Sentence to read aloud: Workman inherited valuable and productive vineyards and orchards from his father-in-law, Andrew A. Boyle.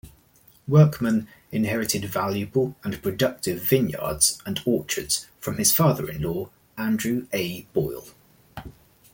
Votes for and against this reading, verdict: 0, 2, rejected